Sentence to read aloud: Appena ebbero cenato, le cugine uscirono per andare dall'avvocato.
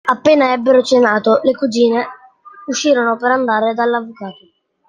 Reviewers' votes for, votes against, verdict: 2, 1, accepted